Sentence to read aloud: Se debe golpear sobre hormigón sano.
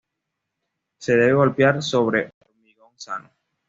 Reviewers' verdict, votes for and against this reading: rejected, 1, 2